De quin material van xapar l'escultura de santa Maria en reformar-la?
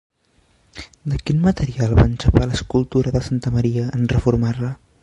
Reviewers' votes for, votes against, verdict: 1, 2, rejected